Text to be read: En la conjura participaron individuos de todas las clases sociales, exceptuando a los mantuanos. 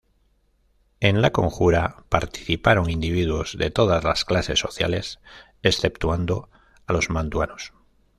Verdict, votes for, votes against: accepted, 2, 0